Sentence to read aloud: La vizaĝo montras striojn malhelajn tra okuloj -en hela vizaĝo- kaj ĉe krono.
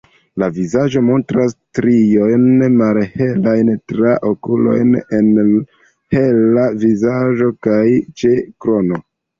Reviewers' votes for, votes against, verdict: 2, 0, accepted